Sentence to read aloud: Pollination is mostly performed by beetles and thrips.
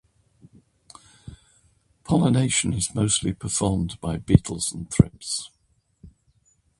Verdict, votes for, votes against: accepted, 2, 1